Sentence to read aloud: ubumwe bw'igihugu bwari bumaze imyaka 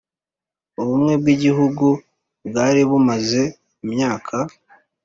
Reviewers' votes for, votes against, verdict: 4, 0, accepted